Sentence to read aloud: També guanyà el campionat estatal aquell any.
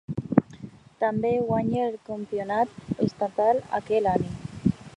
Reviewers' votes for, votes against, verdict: 0, 2, rejected